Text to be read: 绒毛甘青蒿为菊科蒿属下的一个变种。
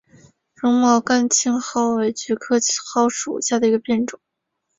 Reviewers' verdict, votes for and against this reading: accepted, 3, 0